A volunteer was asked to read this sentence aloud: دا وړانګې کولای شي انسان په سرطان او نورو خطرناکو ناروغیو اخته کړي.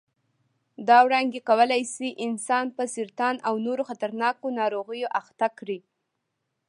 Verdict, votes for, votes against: rejected, 1, 2